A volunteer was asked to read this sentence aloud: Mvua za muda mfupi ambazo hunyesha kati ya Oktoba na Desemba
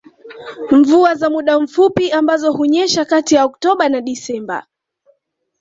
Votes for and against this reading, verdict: 2, 1, accepted